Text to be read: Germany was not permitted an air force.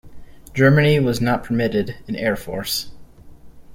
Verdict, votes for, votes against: accepted, 2, 0